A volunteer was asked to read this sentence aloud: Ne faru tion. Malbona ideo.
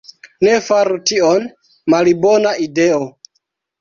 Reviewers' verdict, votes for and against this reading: rejected, 0, 2